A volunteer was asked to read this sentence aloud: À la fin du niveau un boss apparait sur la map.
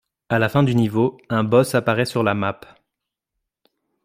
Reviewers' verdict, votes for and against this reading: accepted, 2, 0